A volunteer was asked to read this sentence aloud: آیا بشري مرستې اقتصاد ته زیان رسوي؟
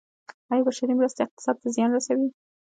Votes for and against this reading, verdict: 2, 0, accepted